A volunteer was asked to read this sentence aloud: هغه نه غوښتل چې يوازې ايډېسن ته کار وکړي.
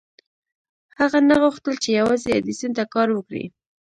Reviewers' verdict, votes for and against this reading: accepted, 2, 0